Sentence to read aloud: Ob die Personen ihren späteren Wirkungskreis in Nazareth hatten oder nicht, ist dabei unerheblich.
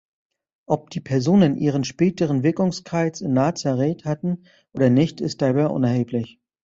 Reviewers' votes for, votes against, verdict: 2, 1, accepted